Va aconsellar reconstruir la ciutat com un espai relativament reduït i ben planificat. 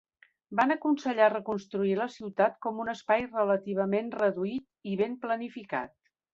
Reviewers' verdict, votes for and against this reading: rejected, 1, 3